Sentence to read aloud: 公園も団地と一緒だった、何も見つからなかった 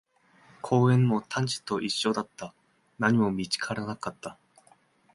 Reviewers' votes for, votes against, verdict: 1, 2, rejected